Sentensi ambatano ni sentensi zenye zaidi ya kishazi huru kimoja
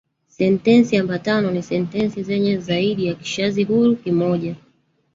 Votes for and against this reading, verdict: 0, 2, rejected